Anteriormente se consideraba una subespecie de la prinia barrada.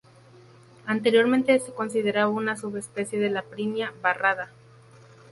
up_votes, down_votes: 0, 2